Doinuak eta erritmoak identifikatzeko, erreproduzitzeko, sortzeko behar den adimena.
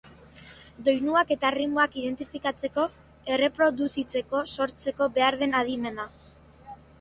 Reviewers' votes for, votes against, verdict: 4, 0, accepted